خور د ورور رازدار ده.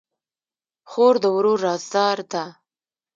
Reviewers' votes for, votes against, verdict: 1, 2, rejected